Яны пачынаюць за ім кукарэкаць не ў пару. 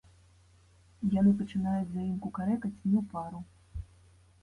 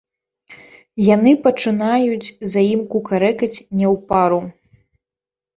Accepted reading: first